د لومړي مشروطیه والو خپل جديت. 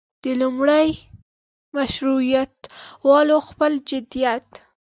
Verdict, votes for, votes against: accepted, 2, 1